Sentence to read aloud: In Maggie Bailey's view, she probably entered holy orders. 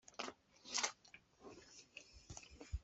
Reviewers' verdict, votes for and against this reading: rejected, 0, 2